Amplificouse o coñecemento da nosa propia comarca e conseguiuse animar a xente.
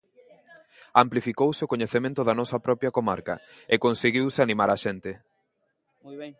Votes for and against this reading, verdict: 0, 2, rejected